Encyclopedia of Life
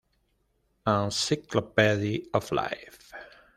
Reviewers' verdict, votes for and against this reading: rejected, 1, 2